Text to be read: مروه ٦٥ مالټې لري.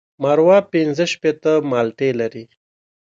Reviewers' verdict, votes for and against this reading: rejected, 0, 2